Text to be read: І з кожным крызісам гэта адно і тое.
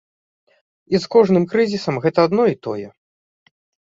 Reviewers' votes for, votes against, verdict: 2, 0, accepted